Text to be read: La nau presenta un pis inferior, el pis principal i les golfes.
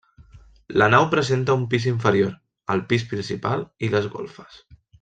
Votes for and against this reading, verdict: 3, 0, accepted